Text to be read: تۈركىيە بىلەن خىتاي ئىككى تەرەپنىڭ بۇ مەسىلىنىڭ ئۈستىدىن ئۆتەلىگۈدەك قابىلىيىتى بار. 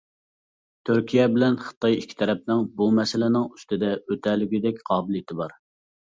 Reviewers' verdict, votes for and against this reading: accepted, 2, 0